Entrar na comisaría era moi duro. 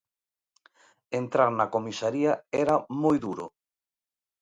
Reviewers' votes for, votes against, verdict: 2, 0, accepted